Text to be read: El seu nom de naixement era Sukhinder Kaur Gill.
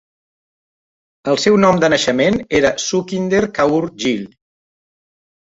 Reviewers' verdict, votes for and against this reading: accepted, 2, 0